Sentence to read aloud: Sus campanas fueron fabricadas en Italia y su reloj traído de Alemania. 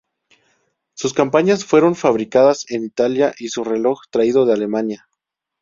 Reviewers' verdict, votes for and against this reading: rejected, 0, 2